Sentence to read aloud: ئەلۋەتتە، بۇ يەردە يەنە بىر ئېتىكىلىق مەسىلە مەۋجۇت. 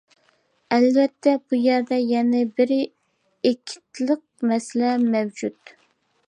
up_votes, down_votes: 0, 2